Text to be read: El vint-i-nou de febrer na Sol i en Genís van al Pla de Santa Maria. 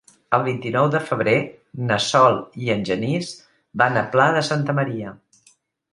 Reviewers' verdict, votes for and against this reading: rejected, 1, 3